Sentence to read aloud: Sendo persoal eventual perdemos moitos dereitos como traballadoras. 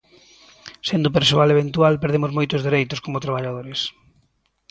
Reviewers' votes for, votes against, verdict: 0, 2, rejected